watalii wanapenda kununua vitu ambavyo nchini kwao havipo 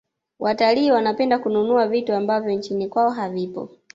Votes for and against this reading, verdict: 2, 1, accepted